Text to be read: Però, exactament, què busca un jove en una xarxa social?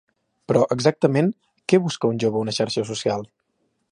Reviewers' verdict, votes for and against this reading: rejected, 1, 2